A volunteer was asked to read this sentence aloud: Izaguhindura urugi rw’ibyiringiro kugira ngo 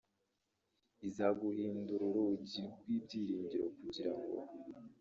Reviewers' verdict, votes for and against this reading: rejected, 0, 2